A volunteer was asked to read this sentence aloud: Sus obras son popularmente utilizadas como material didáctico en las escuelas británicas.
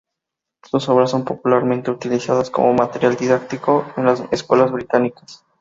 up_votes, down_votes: 2, 0